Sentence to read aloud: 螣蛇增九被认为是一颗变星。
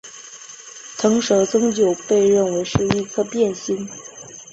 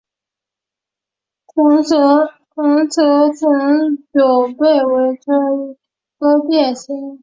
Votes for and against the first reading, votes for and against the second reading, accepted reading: 2, 0, 0, 2, first